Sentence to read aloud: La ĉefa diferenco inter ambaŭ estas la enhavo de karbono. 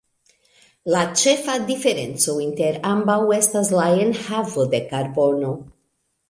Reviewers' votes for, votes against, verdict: 0, 2, rejected